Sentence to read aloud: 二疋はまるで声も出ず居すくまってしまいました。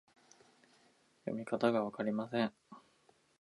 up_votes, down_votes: 1, 6